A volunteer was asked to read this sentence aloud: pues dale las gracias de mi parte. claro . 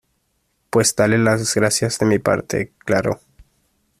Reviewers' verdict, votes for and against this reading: accepted, 2, 0